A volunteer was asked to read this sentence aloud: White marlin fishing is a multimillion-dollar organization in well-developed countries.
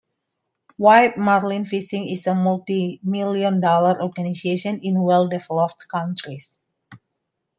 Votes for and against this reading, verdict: 2, 1, accepted